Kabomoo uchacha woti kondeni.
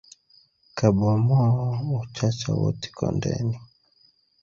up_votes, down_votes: 4, 0